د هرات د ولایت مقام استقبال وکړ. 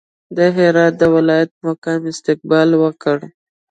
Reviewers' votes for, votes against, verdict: 2, 0, accepted